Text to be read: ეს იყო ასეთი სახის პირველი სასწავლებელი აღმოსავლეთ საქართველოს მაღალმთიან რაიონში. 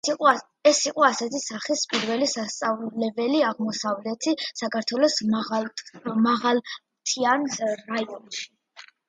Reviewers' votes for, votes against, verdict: 0, 2, rejected